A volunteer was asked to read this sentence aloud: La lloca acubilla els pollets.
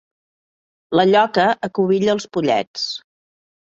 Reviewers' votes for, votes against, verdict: 2, 0, accepted